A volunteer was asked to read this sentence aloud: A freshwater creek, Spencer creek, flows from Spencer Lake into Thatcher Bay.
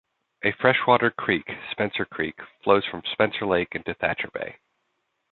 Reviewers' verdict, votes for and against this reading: accepted, 2, 0